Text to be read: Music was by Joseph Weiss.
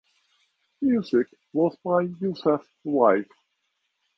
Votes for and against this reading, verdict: 0, 2, rejected